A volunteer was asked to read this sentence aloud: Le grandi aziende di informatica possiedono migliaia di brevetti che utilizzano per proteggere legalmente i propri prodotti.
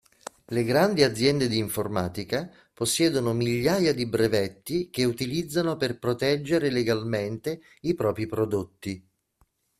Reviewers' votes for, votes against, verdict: 2, 0, accepted